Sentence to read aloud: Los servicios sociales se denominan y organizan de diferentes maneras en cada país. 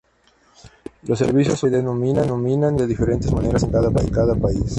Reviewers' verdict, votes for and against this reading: rejected, 0, 2